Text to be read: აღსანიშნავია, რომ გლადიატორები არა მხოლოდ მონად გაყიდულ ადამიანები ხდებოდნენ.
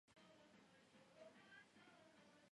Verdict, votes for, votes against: rejected, 0, 2